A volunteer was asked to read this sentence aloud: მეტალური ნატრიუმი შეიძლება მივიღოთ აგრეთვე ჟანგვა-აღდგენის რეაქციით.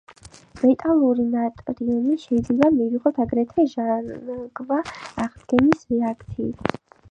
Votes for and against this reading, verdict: 5, 4, accepted